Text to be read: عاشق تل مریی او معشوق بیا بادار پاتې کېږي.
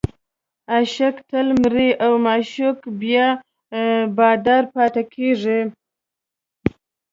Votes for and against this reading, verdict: 2, 0, accepted